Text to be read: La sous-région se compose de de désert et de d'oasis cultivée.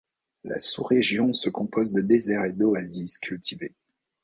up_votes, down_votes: 1, 2